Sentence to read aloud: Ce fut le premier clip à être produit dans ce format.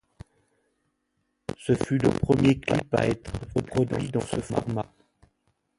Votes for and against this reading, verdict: 2, 0, accepted